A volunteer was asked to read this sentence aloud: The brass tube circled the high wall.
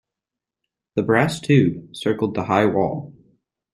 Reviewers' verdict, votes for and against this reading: accepted, 2, 0